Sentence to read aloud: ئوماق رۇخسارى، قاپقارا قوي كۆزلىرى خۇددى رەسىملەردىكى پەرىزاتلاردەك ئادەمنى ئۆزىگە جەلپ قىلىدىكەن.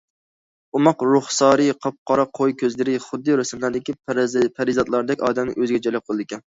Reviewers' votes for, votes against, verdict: 2, 1, accepted